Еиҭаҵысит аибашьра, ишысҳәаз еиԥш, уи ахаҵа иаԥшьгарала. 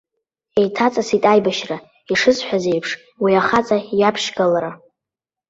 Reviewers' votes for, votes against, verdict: 1, 2, rejected